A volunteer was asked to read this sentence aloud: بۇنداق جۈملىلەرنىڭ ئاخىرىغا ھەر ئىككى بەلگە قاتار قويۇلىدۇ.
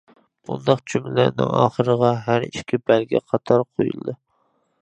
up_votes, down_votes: 0, 2